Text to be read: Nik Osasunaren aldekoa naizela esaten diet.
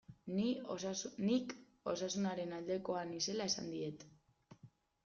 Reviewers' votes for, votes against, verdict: 0, 2, rejected